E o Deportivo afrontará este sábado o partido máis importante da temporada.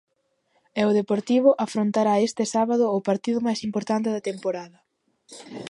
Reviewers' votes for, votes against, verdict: 2, 0, accepted